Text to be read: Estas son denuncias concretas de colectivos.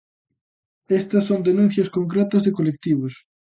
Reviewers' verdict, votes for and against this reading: accepted, 2, 0